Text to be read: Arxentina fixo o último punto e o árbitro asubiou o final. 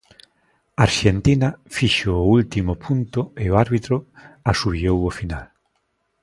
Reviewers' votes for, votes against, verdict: 2, 0, accepted